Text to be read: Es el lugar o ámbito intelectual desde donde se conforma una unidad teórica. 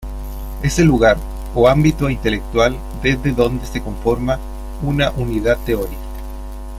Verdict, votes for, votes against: rejected, 1, 2